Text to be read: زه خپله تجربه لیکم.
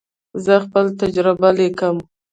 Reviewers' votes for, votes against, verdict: 1, 2, rejected